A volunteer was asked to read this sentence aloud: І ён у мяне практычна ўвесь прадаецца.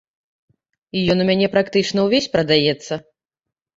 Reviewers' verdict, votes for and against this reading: accepted, 2, 0